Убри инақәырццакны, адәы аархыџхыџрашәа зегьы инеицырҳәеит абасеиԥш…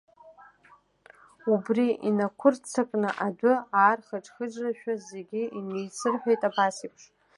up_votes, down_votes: 0, 2